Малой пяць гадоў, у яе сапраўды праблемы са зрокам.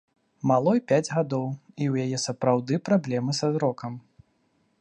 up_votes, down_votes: 0, 2